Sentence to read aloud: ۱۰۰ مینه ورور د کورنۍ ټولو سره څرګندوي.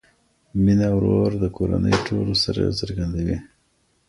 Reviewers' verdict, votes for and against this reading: rejected, 0, 2